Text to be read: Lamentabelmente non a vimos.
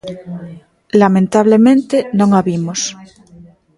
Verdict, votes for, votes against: rejected, 0, 2